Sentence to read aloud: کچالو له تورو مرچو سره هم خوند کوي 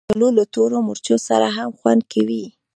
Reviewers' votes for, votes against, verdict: 2, 0, accepted